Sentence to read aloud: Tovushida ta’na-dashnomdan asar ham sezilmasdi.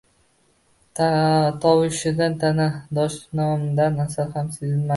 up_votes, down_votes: 0, 2